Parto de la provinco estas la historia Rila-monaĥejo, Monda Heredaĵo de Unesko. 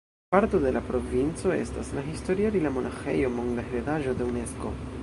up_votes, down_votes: 1, 2